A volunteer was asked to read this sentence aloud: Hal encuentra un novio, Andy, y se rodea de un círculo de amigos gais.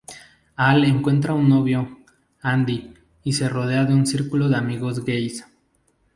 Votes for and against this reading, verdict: 4, 0, accepted